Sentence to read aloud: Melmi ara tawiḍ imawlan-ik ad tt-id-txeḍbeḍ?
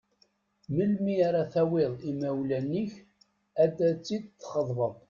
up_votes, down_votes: 1, 2